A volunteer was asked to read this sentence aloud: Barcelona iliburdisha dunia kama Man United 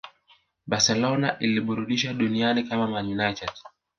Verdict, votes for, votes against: rejected, 1, 2